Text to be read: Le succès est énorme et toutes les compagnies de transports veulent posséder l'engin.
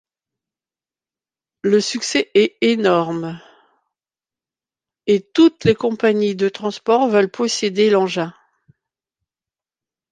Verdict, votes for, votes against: accepted, 2, 1